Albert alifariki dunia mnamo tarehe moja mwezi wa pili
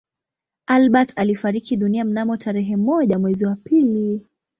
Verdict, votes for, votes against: accepted, 2, 0